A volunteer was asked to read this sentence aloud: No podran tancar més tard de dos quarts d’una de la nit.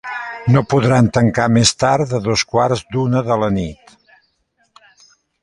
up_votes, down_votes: 2, 0